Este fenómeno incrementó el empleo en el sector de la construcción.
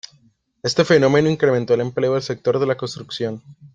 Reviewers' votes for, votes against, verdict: 1, 2, rejected